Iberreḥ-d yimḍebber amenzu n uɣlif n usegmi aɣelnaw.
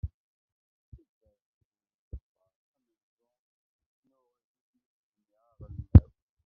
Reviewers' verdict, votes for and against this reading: rejected, 0, 2